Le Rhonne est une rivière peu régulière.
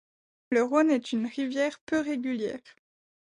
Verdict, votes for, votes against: accepted, 2, 0